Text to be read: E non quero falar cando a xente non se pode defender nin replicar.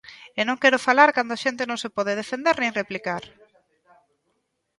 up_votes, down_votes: 2, 0